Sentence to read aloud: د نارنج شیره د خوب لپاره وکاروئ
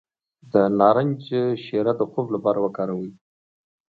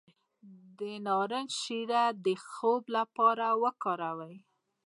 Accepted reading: first